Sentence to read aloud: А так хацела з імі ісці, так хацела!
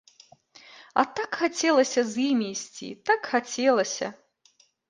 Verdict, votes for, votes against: rejected, 0, 2